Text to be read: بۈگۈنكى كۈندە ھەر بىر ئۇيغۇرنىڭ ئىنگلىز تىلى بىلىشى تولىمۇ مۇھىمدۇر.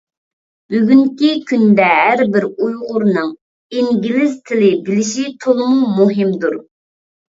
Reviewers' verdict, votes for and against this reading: accepted, 2, 0